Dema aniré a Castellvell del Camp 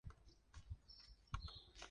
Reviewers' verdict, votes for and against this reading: rejected, 0, 2